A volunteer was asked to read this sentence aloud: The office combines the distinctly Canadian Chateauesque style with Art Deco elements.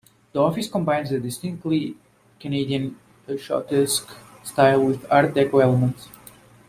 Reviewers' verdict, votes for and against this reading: rejected, 0, 2